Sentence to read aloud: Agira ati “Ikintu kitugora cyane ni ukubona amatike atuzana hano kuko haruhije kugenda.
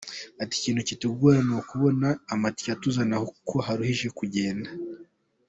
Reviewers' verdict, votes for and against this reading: accepted, 2, 0